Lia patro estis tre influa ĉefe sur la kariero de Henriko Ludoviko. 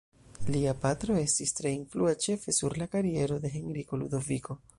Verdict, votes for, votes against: accepted, 2, 1